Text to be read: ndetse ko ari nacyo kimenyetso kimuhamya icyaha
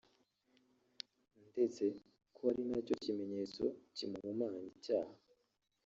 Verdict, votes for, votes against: rejected, 1, 2